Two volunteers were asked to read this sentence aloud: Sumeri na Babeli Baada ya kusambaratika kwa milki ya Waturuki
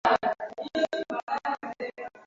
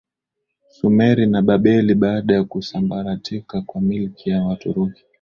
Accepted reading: second